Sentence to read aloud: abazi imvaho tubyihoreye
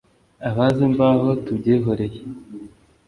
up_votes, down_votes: 2, 0